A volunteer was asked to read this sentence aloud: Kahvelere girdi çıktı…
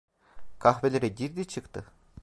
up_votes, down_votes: 2, 0